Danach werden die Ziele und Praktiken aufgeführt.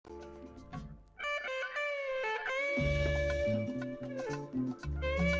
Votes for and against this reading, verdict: 0, 3, rejected